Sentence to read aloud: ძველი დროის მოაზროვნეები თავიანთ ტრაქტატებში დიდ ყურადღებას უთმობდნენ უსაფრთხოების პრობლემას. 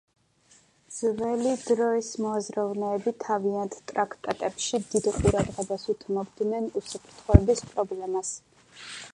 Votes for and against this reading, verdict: 2, 0, accepted